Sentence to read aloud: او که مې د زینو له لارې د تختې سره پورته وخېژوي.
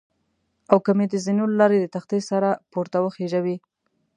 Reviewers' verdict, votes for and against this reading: accepted, 2, 0